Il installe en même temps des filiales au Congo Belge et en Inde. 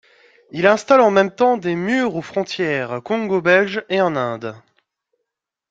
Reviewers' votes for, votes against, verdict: 1, 2, rejected